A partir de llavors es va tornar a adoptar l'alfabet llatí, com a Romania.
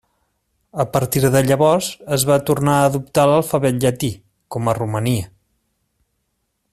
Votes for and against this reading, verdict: 2, 0, accepted